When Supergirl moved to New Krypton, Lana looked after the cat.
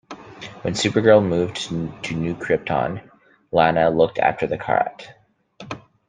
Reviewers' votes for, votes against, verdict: 1, 2, rejected